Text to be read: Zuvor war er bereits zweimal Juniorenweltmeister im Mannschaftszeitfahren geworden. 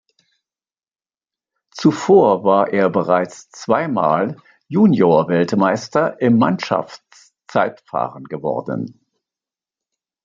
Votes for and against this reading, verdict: 1, 2, rejected